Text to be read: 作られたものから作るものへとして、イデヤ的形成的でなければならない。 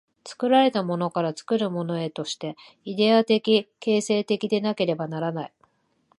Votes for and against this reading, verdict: 2, 0, accepted